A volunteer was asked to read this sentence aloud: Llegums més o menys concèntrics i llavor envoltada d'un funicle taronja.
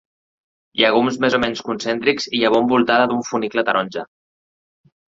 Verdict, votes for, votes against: accepted, 2, 0